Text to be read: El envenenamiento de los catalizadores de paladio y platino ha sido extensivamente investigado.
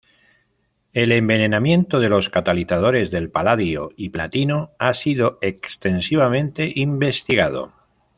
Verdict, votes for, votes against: rejected, 0, 2